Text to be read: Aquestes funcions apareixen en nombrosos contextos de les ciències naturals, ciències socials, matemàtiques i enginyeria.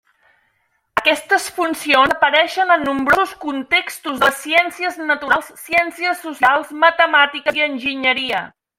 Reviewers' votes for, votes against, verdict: 0, 2, rejected